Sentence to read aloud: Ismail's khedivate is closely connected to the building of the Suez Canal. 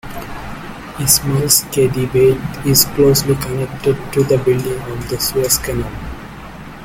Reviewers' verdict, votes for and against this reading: rejected, 0, 2